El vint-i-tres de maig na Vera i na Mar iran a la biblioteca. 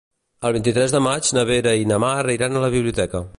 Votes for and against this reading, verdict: 2, 0, accepted